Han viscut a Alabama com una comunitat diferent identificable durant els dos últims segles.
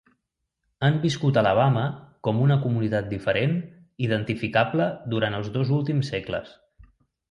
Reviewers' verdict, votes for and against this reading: accepted, 2, 0